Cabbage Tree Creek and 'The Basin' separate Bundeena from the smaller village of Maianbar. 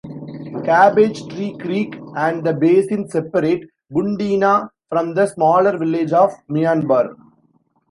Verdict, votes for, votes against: accepted, 2, 1